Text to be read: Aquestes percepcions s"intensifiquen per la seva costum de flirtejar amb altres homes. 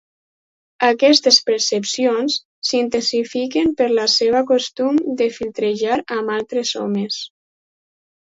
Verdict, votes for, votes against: rejected, 0, 4